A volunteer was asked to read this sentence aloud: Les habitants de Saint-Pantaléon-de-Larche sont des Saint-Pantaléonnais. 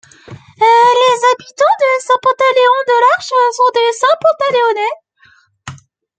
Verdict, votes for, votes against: rejected, 1, 2